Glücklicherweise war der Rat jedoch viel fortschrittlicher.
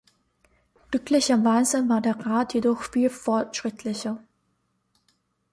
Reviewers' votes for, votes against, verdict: 2, 0, accepted